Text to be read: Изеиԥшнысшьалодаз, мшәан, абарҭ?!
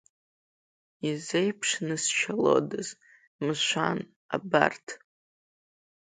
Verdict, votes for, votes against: accepted, 2, 0